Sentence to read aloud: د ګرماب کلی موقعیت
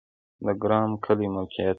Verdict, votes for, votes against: accepted, 2, 0